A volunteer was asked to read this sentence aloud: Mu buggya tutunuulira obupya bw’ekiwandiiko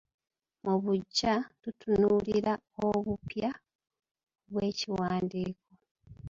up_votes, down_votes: 3, 2